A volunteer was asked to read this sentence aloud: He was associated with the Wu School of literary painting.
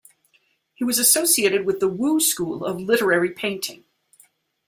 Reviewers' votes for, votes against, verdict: 2, 0, accepted